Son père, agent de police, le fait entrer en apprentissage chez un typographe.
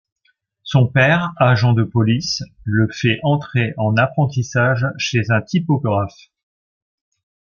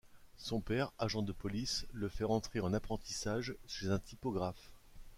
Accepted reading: first